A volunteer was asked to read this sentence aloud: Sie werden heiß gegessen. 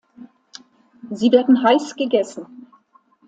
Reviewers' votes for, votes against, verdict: 2, 0, accepted